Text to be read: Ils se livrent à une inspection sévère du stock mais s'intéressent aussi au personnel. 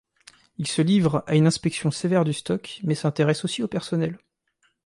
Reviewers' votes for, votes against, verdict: 3, 0, accepted